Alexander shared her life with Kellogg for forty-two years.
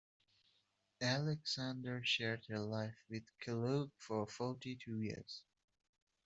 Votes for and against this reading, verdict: 2, 1, accepted